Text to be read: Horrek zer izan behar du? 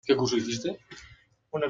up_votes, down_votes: 0, 2